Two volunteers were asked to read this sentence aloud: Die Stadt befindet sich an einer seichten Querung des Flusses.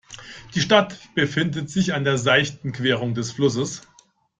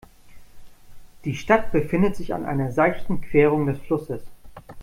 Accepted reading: second